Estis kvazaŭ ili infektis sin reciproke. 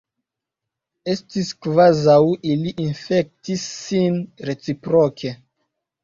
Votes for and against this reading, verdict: 2, 0, accepted